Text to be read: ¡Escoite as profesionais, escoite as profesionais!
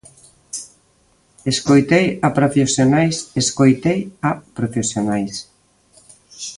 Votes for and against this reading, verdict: 0, 2, rejected